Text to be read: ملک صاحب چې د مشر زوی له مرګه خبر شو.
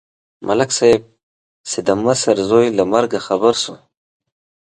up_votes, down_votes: 2, 0